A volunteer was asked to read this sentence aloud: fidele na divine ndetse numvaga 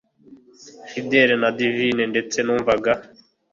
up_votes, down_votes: 2, 0